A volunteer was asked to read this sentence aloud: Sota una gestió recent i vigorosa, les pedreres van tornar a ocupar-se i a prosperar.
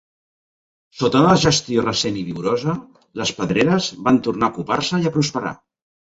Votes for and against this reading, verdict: 0, 2, rejected